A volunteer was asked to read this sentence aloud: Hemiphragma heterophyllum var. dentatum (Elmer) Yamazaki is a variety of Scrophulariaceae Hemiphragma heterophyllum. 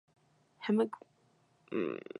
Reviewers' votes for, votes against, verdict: 0, 2, rejected